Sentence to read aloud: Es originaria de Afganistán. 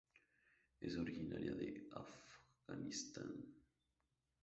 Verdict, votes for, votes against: accepted, 2, 0